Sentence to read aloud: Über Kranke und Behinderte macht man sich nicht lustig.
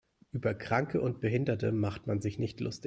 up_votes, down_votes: 1, 2